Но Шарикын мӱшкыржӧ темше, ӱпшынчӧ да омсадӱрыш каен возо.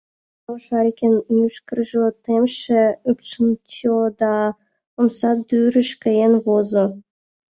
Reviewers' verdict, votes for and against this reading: accepted, 2, 1